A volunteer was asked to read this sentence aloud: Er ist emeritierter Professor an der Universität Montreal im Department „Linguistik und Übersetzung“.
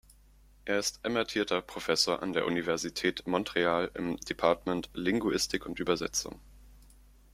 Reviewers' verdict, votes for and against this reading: rejected, 1, 2